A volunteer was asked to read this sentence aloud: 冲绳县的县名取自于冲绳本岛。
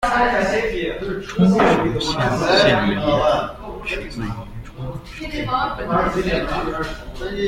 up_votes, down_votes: 1, 2